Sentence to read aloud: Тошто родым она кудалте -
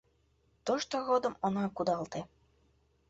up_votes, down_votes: 2, 1